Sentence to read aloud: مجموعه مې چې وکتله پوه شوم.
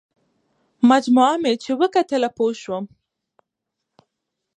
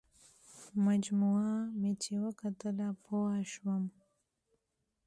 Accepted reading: first